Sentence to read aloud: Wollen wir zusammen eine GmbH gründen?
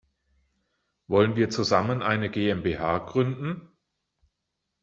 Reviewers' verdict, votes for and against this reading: accepted, 2, 0